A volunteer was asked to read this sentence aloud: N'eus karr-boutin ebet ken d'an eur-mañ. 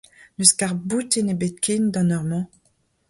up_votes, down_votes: 2, 0